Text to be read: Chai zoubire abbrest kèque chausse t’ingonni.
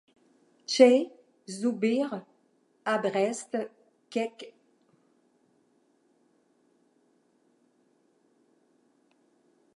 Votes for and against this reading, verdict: 1, 2, rejected